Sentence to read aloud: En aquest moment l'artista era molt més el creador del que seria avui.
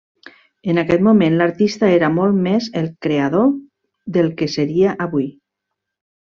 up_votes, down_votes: 3, 0